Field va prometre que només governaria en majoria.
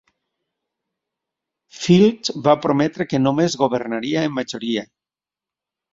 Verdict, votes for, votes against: accepted, 2, 0